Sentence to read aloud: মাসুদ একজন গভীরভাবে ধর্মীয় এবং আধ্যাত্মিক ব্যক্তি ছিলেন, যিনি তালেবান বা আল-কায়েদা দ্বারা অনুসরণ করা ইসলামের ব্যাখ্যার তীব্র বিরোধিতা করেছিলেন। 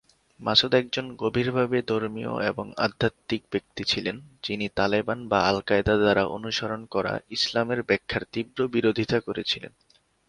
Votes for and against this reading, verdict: 7, 0, accepted